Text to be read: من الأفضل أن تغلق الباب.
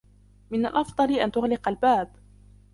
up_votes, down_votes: 0, 2